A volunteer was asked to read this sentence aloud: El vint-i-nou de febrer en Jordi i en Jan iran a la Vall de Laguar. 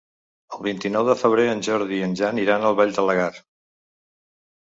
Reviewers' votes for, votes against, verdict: 0, 2, rejected